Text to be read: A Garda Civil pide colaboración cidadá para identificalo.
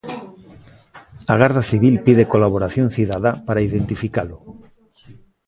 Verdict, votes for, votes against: accepted, 2, 0